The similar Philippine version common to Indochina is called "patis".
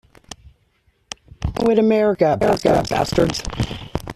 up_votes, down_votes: 0, 2